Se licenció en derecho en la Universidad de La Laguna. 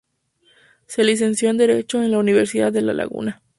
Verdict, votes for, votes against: rejected, 0, 2